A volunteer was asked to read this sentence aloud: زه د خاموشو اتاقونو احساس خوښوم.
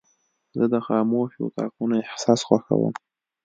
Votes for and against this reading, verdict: 3, 0, accepted